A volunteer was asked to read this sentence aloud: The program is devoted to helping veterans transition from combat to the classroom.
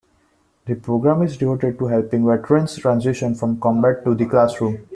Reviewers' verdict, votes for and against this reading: accepted, 2, 0